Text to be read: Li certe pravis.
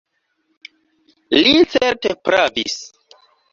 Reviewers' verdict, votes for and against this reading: accepted, 3, 2